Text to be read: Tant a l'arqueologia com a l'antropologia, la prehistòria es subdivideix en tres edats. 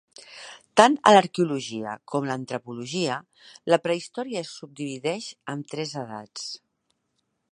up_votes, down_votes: 2, 1